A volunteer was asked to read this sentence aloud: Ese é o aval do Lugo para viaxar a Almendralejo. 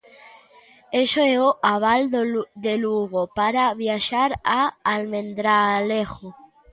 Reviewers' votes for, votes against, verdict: 0, 2, rejected